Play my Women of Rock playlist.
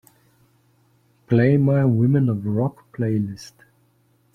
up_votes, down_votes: 2, 0